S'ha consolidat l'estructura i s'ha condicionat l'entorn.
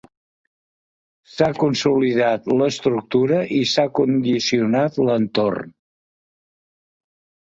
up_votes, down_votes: 2, 0